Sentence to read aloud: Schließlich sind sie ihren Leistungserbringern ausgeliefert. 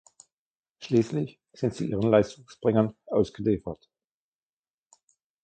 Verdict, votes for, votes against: rejected, 0, 2